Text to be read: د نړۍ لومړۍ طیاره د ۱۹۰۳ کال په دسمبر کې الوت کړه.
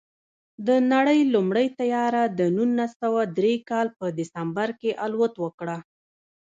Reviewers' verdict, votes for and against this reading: rejected, 0, 2